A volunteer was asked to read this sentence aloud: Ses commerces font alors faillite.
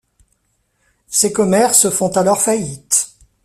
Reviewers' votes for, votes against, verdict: 2, 1, accepted